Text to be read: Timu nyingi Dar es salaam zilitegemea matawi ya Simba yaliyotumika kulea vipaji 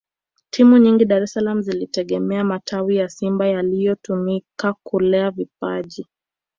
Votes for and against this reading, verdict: 6, 0, accepted